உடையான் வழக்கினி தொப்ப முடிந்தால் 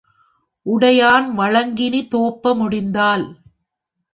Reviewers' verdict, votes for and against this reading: rejected, 1, 2